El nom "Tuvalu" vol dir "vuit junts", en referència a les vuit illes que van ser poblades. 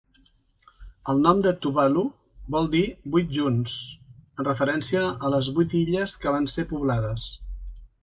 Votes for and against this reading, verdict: 0, 2, rejected